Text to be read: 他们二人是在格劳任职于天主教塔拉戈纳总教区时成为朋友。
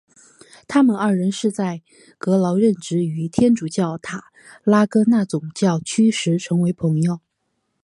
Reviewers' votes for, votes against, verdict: 0, 2, rejected